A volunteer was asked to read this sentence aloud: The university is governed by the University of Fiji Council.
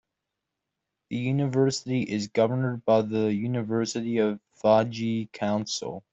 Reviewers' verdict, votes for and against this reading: rejected, 0, 2